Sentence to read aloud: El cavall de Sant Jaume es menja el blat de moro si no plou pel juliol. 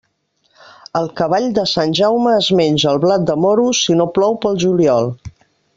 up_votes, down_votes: 3, 0